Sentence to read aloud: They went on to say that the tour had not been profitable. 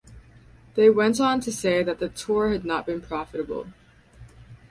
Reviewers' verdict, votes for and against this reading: rejected, 2, 2